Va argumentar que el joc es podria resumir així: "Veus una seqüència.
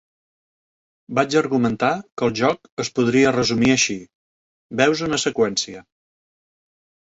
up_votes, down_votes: 0, 3